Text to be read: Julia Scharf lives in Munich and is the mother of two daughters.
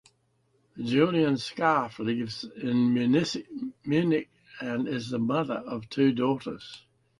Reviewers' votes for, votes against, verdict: 0, 2, rejected